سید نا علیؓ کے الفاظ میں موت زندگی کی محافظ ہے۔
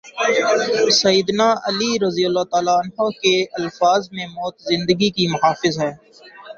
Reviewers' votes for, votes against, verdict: 2, 0, accepted